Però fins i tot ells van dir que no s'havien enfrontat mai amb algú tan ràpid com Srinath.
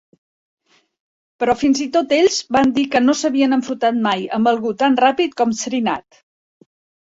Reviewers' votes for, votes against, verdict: 0, 2, rejected